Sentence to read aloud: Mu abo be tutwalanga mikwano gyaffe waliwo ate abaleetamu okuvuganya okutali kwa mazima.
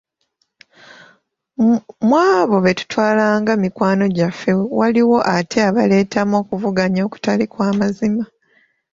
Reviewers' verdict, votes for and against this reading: accepted, 2, 0